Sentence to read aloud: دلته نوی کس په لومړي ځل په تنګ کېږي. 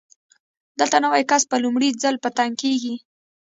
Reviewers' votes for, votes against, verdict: 1, 2, rejected